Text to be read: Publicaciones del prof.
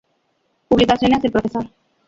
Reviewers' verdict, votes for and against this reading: rejected, 0, 2